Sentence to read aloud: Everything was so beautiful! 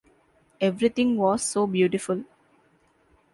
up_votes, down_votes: 2, 0